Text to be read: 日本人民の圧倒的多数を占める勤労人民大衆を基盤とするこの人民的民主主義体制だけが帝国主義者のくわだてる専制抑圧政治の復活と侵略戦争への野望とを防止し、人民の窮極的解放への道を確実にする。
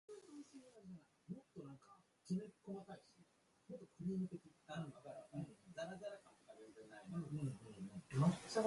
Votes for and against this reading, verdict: 1, 2, rejected